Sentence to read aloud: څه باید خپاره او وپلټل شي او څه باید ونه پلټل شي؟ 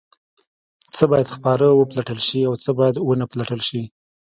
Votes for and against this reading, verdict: 1, 2, rejected